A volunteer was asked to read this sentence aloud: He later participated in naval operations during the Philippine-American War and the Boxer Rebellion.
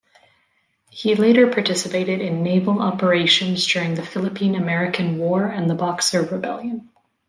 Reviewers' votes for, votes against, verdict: 2, 0, accepted